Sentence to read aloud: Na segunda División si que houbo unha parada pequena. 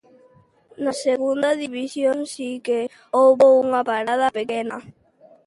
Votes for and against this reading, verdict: 2, 0, accepted